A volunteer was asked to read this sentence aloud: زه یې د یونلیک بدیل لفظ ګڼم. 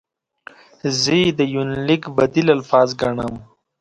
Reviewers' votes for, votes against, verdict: 0, 2, rejected